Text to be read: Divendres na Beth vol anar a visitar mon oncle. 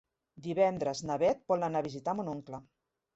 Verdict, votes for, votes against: accepted, 2, 0